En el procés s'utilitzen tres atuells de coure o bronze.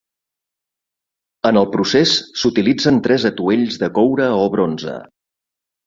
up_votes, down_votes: 3, 0